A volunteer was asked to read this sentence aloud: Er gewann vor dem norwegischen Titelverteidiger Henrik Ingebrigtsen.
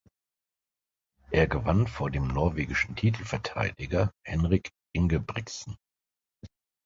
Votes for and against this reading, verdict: 2, 0, accepted